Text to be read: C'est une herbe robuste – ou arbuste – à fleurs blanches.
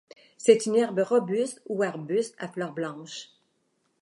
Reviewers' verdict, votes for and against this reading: accepted, 2, 0